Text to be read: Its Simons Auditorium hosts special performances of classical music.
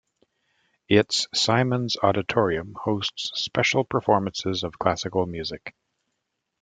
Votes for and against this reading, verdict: 2, 0, accepted